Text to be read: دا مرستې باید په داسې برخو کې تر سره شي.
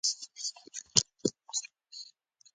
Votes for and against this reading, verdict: 1, 2, rejected